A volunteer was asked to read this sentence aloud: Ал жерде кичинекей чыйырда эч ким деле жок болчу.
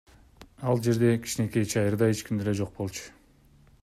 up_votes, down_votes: 1, 2